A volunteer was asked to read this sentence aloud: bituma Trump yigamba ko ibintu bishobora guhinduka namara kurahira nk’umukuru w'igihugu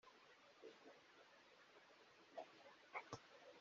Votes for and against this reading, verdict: 0, 2, rejected